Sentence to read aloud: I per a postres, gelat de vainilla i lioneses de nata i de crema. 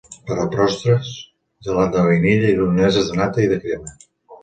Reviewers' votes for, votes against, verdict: 1, 2, rejected